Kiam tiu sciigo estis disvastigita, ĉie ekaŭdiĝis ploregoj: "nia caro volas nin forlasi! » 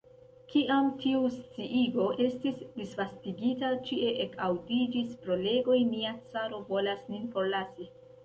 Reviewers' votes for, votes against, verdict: 0, 2, rejected